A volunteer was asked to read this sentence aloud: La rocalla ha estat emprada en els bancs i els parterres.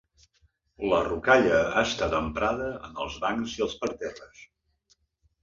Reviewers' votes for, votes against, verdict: 2, 0, accepted